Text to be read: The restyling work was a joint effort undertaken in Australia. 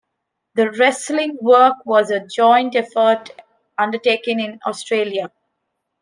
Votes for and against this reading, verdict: 1, 2, rejected